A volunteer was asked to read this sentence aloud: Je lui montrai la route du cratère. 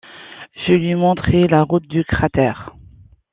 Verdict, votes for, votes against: accepted, 2, 0